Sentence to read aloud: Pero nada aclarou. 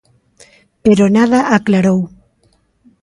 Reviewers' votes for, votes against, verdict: 2, 0, accepted